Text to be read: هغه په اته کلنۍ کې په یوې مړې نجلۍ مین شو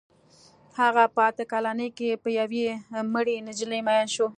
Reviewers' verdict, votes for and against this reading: rejected, 1, 2